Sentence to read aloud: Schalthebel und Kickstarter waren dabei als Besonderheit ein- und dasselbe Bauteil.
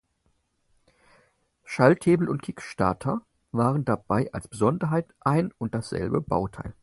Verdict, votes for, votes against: accepted, 4, 0